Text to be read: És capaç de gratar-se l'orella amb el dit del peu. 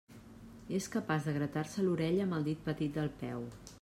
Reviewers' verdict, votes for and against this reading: rejected, 1, 2